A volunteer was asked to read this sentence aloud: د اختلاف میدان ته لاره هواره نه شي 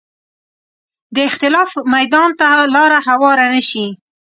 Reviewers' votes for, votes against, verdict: 2, 0, accepted